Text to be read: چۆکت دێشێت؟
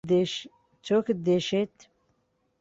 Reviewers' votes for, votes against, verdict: 0, 2, rejected